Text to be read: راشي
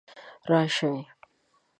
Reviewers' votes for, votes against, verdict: 0, 2, rejected